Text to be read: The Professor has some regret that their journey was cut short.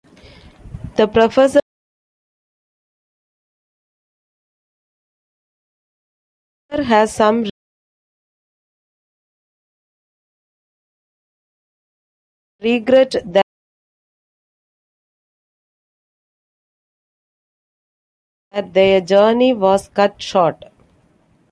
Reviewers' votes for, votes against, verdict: 0, 2, rejected